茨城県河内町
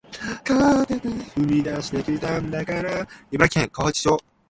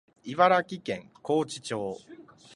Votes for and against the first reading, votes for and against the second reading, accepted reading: 0, 2, 2, 0, second